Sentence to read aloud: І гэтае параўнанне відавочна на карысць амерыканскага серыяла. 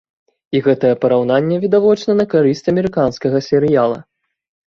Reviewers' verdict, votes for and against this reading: accepted, 2, 0